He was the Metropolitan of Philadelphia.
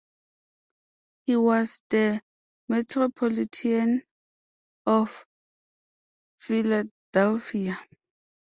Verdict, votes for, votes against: rejected, 0, 2